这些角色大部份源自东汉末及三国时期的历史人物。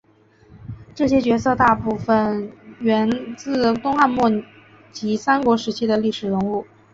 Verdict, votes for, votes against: accepted, 5, 0